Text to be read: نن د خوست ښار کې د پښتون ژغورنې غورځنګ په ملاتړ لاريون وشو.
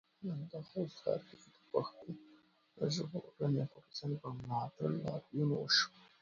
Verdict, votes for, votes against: rejected, 0, 2